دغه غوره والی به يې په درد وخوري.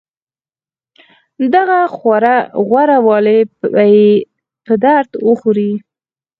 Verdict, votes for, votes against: rejected, 2, 4